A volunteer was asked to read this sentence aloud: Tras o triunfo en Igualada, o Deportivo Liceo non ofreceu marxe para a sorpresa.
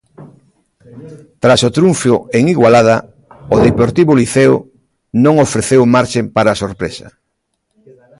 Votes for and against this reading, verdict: 0, 2, rejected